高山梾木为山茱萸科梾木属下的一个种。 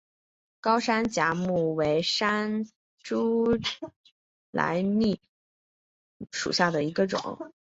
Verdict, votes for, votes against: rejected, 0, 2